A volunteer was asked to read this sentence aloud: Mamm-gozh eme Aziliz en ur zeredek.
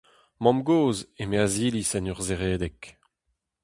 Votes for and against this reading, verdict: 2, 0, accepted